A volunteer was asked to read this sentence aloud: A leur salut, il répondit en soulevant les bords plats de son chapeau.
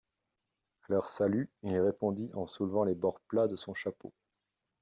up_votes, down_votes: 0, 2